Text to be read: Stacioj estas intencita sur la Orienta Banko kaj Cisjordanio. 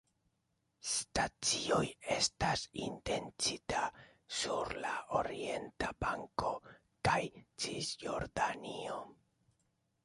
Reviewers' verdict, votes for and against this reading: accepted, 2, 0